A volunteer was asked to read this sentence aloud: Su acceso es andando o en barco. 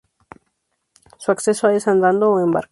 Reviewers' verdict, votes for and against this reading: rejected, 0, 2